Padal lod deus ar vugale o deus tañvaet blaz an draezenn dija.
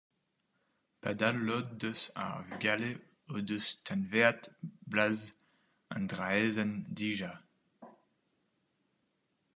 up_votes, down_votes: 0, 4